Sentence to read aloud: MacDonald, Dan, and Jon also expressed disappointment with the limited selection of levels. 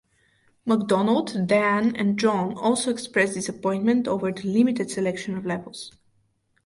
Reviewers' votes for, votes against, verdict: 0, 4, rejected